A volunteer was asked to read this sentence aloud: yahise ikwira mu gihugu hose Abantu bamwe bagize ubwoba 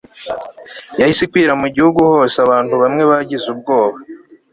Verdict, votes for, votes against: accepted, 2, 0